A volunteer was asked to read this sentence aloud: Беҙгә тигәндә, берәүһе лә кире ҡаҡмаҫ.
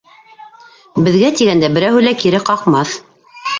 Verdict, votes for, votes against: rejected, 1, 2